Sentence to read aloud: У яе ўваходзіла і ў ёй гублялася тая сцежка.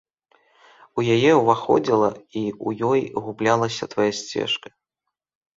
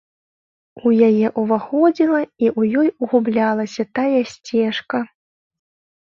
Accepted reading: second